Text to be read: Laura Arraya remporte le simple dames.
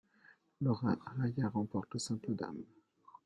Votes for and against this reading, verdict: 3, 1, accepted